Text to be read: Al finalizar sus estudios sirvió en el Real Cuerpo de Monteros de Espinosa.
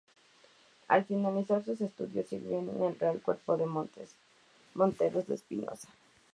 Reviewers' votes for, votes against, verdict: 0, 2, rejected